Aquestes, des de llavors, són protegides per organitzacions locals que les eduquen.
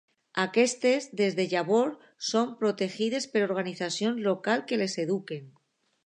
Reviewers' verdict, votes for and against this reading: accepted, 2, 0